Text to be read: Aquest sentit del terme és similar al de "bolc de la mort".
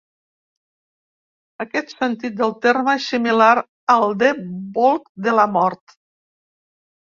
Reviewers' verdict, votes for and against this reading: accepted, 3, 1